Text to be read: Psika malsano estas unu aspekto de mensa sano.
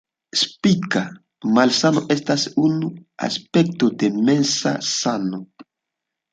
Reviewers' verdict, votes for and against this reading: accepted, 2, 0